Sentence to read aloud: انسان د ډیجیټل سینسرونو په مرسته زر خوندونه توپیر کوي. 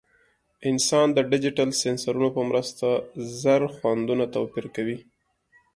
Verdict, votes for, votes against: accepted, 2, 0